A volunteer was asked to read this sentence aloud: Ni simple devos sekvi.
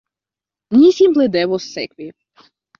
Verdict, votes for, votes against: rejected, 0, 2